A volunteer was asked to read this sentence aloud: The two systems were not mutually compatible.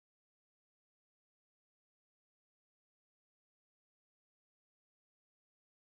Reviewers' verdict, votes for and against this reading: rejected, 0, 4